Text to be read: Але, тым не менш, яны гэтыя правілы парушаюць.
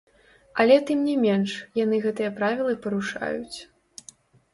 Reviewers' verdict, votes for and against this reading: rejected, 0, 2